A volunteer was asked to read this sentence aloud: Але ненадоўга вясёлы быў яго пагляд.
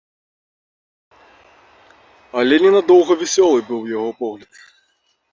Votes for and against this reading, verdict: 0, 2, rejected